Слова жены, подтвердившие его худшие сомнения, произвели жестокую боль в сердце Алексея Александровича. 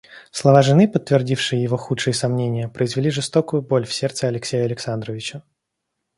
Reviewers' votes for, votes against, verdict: 2, 0, accepted